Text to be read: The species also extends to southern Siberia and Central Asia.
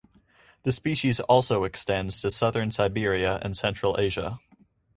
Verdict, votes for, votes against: accepted, 4, 0